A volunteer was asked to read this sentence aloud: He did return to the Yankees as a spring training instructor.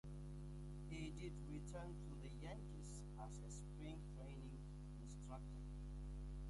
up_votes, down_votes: 0, 2